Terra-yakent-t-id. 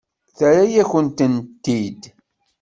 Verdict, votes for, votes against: rejected, 1, 2